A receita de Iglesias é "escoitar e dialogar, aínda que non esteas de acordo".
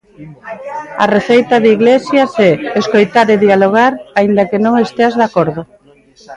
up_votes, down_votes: 2, 0